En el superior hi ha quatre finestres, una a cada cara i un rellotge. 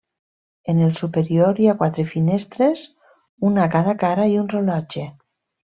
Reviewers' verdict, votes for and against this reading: accepted, 2, 0